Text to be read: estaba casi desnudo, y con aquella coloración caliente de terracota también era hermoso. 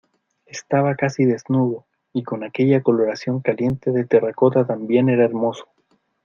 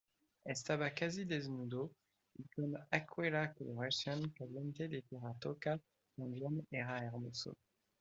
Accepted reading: first